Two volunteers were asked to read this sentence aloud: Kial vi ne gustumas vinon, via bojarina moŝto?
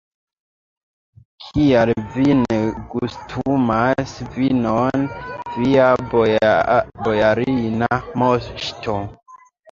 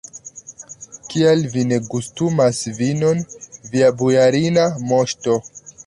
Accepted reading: second